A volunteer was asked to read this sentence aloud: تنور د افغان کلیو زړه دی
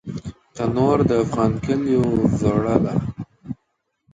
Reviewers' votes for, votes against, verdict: 1, 2, rejected